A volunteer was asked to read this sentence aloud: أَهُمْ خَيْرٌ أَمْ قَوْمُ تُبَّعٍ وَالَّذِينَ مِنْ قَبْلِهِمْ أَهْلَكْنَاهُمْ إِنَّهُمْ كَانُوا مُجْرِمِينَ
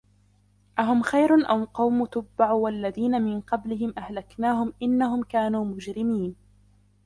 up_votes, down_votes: 1, 2